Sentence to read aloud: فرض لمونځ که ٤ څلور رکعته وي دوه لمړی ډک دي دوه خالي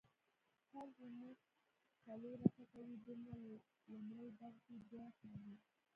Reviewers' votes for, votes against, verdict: 0, 2, rejected